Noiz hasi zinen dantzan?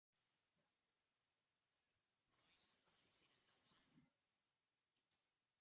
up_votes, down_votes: 1, 4